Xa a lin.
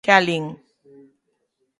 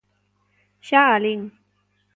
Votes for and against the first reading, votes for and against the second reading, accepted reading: 0, 3, 2, 0, second